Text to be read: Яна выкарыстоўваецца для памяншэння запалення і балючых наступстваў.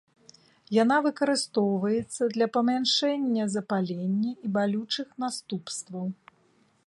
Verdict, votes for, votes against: rejected, 1, 3